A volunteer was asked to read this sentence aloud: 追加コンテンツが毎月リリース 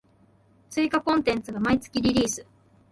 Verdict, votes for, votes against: rejected, 1, 2